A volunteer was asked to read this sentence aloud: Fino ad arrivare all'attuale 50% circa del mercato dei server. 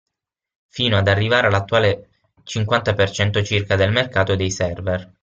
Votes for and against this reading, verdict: 0, 2, rejected